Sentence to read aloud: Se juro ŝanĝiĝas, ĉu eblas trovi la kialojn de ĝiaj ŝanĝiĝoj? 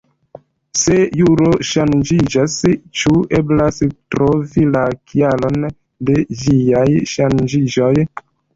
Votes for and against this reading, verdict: 1, 2, rejected